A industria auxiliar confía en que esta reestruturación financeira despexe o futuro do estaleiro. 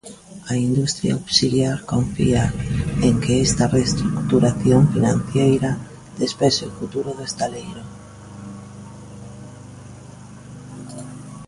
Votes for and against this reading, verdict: 1, 2, rejected